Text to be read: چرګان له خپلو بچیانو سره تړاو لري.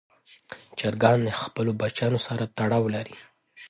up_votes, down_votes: 2, 0